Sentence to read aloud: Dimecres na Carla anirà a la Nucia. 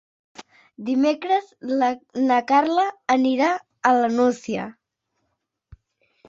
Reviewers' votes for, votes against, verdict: 0, 2, rejected